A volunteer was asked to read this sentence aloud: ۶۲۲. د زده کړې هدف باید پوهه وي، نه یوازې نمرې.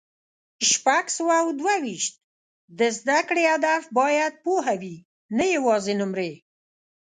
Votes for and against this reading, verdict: 0, 2, rejected